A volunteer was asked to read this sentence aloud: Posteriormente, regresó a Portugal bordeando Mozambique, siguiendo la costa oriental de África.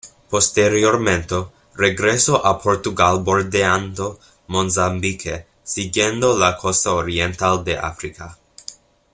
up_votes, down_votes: 1, 2